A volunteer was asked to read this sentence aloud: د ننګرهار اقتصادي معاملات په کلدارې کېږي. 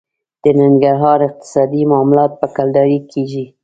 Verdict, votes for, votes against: accepted, 2, 0